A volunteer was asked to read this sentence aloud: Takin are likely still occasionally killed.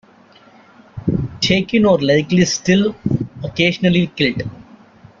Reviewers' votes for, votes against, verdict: 0, 2, rejected